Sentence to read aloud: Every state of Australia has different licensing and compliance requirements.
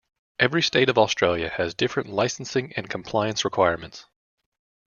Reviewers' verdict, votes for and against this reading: accepted, 2, 0